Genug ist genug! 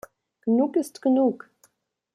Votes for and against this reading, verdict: 2, 0, accepted